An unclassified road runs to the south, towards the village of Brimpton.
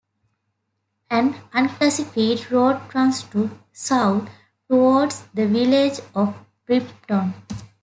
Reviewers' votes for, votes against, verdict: 1, 2, rejected